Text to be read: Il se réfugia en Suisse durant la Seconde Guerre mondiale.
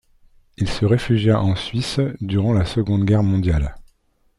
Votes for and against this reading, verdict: 2, 1, accepted